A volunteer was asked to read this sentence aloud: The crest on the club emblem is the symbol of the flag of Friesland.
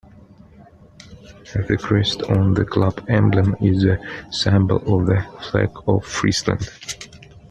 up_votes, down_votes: 1, 2